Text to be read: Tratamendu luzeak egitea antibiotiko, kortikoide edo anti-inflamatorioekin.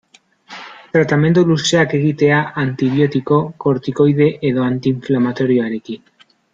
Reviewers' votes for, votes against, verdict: 0, 5, rejected